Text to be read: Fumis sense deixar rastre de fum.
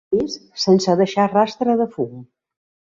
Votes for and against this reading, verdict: 1, 2, rejected